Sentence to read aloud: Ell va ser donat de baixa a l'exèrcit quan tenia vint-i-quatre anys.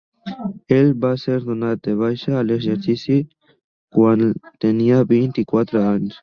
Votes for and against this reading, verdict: 1, 2, rejected